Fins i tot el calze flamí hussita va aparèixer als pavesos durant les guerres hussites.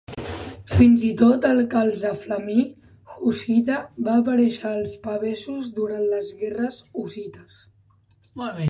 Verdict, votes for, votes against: rejected, 0, 3